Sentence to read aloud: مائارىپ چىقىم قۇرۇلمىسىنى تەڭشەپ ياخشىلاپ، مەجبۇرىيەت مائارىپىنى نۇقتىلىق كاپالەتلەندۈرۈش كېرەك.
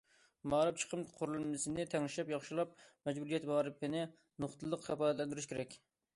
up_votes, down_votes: 2, 0